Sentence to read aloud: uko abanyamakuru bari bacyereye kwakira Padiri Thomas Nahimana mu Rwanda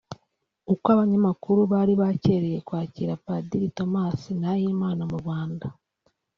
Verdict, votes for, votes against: accepted, 2, 0